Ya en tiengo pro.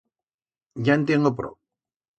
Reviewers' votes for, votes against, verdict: 2, 0, accepted